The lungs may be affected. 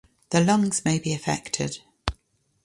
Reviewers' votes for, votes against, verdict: 3, 0, accepted